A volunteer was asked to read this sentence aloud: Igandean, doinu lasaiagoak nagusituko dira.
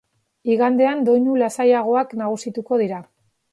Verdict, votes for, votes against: accepted, 2, 0